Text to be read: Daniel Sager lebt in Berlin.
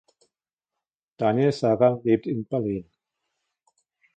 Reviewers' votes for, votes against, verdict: 1, 2, rejected